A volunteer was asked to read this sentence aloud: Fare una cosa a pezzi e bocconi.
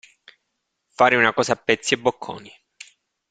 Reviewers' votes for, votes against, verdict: 2, 0, accepted